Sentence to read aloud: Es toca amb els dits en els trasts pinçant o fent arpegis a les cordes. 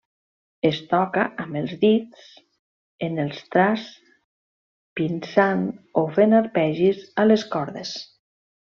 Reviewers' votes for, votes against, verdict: 1, 2, rejected